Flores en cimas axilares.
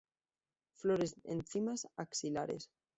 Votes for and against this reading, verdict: 1, 2, rejected